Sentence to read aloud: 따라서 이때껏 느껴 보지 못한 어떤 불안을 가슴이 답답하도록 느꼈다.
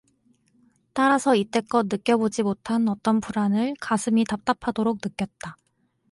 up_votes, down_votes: 2, 0